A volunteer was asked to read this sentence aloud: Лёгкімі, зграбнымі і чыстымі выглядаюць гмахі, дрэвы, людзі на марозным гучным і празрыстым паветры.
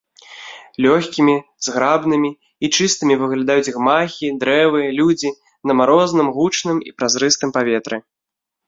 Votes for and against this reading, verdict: 2, 0, accepted